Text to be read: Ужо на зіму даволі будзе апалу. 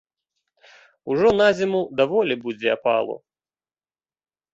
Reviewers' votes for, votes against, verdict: 2, 0, accepted